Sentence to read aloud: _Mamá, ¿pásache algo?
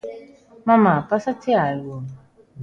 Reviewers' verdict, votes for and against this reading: accepted, 2, 0